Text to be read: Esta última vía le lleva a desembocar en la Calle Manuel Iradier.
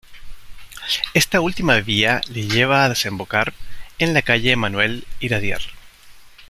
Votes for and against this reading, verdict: 3, 0, accepted